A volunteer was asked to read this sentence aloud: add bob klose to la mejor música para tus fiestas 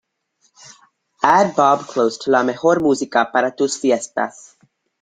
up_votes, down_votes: 2, 0